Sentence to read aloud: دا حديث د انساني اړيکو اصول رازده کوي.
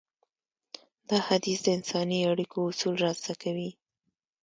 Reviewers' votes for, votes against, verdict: 2, 0, accepted